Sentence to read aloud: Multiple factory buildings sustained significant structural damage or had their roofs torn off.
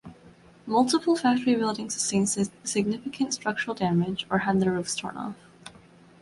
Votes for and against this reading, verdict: 0, 2, rejected